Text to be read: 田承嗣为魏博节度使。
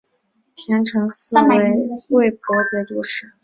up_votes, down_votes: 8, 0